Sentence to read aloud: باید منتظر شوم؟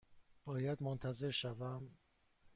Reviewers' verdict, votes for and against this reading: rejected, 1, 2